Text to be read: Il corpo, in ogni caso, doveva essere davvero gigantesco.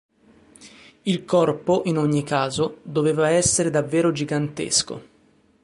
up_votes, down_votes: 4, 0